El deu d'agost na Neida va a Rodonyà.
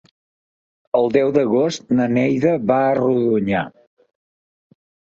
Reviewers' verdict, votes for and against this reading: accepted, 6, 0